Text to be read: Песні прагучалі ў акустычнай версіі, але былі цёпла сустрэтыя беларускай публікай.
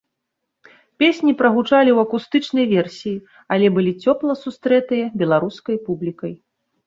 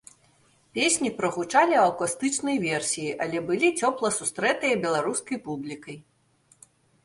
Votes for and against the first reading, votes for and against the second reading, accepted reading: 2, 0, 1, 2, first